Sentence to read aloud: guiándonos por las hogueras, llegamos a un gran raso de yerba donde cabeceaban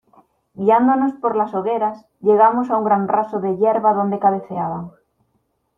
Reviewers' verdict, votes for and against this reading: accepted, 2, 0